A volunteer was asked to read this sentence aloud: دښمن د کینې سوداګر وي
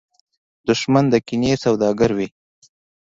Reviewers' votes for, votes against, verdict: 2, 0, accepted